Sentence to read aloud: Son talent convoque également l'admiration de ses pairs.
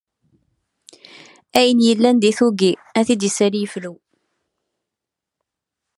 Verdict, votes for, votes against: rejected, 0, 2